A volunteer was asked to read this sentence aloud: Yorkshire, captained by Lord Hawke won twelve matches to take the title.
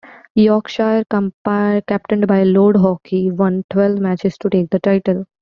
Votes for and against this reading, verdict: 1, 2, rejected